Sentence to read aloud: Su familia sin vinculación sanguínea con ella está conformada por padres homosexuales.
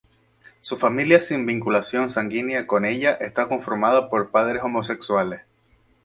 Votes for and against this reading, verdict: 2, 0, accepted